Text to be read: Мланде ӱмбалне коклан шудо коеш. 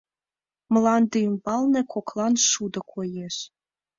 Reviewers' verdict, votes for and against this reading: accepted, 2, 0